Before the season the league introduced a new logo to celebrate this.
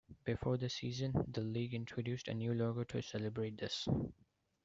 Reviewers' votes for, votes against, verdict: 2, 1, accepted